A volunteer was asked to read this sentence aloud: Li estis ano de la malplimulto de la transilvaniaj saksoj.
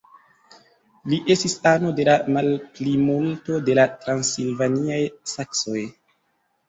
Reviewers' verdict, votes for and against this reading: accepted, 2, 0